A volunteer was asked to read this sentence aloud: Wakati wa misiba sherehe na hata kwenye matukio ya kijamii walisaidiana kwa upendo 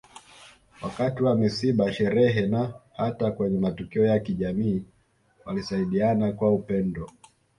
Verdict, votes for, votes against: accepted, 2, 0